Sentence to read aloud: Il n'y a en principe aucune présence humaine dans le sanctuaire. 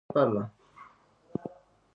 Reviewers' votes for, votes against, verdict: 0, 2, rejected